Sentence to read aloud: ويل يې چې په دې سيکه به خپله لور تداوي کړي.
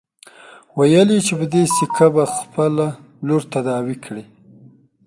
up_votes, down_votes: 2, 0